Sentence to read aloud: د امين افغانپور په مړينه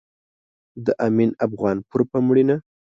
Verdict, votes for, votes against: accepted, 2, 0